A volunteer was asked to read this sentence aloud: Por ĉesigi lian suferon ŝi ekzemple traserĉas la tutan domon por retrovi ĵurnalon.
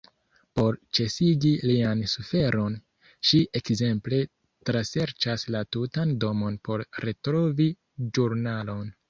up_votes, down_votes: 1, 2